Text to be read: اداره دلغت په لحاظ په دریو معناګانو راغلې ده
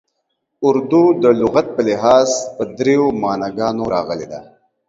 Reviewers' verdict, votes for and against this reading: rejected, 0, 2